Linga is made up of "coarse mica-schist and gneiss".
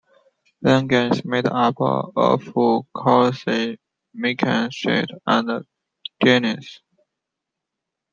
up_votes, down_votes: 0, 2